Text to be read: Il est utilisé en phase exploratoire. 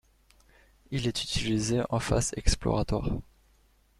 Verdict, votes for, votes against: rejected, 0, 2